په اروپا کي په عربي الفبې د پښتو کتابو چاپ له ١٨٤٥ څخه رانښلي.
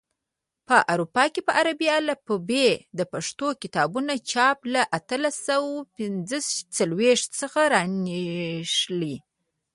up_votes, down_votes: 0, 2